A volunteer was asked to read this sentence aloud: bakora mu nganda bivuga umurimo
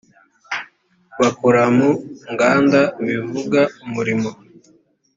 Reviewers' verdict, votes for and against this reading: accepted, 2, 1